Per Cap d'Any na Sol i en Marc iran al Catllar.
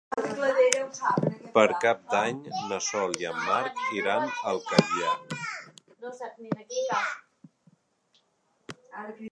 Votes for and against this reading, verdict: 2, 1, accepted